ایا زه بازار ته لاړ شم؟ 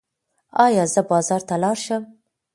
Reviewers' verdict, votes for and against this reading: accepted, 2, 0